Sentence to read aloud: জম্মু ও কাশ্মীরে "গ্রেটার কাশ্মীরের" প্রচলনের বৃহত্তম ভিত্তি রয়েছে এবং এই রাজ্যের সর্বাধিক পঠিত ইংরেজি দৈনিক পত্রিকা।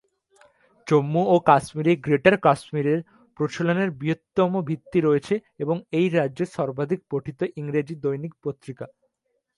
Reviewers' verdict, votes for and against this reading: accepted, 2, 0